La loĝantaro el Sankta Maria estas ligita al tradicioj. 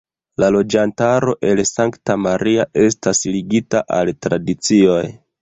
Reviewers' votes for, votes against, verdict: 2, 0, accepted